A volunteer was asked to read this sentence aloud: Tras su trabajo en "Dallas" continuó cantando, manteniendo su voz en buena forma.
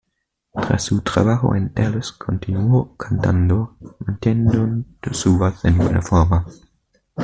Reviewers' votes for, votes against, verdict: 1, 2, rejected